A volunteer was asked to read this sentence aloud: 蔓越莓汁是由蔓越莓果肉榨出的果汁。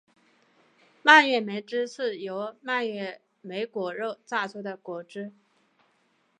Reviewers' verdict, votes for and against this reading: rejected, 0, 2